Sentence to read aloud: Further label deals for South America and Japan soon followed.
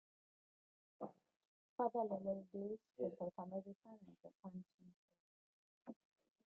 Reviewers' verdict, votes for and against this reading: rejected, 1, 2